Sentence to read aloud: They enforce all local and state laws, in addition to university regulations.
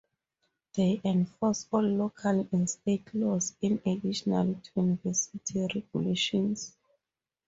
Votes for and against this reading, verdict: 0, 4, rejected